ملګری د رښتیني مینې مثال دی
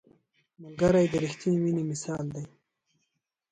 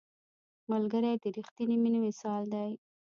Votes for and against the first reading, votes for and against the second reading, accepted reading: 2, 1, 1, 2, first